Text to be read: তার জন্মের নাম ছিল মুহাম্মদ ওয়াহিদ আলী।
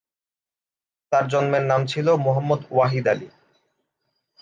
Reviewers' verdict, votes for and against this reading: accepted, 2, 0